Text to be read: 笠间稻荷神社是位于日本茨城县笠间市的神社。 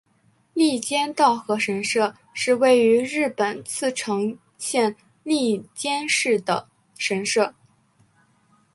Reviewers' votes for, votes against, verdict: 3, 0, accepted